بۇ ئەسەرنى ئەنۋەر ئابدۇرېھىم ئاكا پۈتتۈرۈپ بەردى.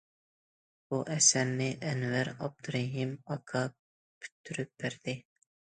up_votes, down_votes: 2, 0